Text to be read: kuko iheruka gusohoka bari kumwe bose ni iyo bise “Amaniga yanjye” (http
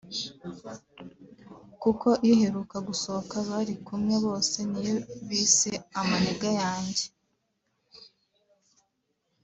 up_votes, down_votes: 1, 3